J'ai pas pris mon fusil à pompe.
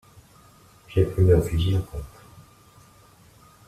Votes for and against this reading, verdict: 0, 2, rejected